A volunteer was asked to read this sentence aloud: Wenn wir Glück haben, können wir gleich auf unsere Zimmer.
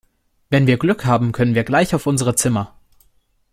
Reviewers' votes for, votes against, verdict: 2, 0, accepted